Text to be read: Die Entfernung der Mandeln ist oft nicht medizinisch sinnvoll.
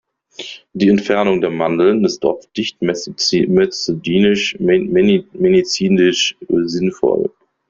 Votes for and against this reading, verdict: 0, 2, rejected